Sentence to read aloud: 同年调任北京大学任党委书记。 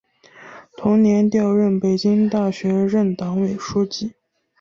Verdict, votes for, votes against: accepted, 2, 1